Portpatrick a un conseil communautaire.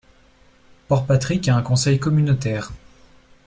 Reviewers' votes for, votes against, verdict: 2, 0, accepted